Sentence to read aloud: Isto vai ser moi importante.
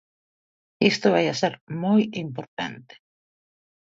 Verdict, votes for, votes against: rejected, 1, 2